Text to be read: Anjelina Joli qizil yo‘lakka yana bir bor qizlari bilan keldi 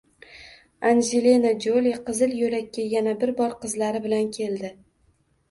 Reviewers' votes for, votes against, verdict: 2, 0, accepted